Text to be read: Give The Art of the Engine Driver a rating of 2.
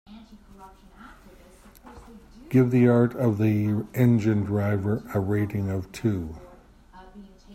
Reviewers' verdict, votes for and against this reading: rejected, 0, 2